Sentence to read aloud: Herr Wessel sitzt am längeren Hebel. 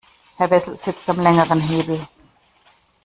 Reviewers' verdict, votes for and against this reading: accepted, 2, 0